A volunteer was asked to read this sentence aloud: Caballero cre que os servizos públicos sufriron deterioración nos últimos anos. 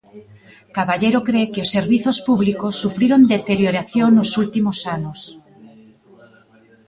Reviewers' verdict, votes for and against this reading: accepted, 2, 0